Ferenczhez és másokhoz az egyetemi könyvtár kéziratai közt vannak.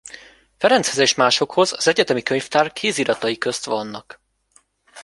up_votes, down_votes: 1, 2